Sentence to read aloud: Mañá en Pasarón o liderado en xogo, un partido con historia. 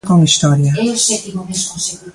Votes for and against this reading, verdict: 0, 2, rejected